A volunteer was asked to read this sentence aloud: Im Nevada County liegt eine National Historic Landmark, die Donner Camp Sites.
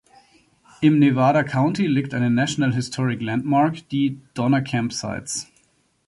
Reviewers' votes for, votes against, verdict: 2, 0, accepted